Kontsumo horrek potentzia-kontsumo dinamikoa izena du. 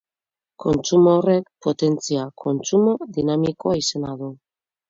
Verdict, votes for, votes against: accepted, 4, 0